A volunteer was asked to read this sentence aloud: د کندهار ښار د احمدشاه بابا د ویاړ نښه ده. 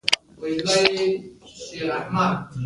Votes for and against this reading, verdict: 0, 2, rejected